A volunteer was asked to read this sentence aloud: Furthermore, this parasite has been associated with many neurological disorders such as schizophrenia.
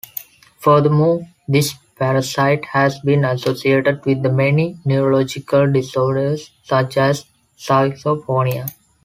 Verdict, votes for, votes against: rejected, 0, 2